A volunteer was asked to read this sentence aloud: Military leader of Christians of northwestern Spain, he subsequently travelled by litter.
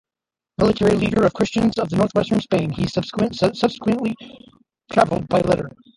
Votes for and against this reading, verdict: 0, 2, rejected